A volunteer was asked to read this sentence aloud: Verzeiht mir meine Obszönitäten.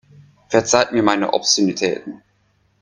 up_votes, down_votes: 2, 0